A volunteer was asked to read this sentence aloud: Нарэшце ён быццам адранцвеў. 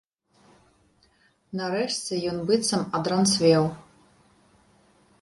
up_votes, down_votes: 2, 0